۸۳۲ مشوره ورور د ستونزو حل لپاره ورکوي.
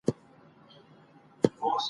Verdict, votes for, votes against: rejected, 0, 2